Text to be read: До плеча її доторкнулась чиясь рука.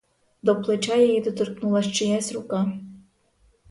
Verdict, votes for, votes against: accepted, 4, 0